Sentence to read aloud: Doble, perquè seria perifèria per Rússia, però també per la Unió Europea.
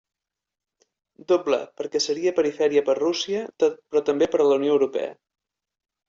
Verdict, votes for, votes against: rejected, 1, 2